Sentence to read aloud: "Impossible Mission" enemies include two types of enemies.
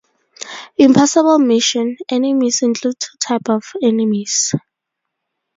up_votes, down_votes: 0, 2